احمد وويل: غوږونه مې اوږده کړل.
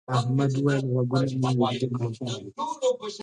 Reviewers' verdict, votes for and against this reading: rejected, 0, 2